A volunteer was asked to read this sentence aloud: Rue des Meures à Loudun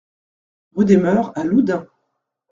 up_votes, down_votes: 2, 0